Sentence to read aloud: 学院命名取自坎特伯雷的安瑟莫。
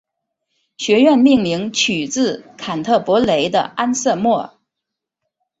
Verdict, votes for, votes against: accepted, 5, 0